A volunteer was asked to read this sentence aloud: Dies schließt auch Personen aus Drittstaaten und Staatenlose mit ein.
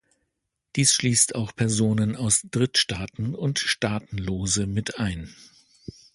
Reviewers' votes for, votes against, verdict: 2, 0, accepted